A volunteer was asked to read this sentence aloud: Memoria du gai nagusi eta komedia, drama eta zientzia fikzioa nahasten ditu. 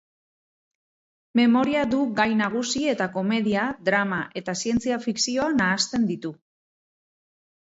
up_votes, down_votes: 4, 0